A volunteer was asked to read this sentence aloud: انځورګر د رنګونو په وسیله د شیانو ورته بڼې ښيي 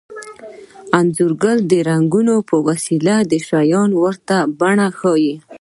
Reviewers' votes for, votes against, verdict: 2, 0, accepted